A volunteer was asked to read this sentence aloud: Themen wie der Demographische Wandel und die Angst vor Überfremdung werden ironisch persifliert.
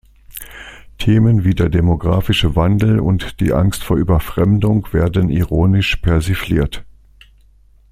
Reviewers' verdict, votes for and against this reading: accepted, 2, 0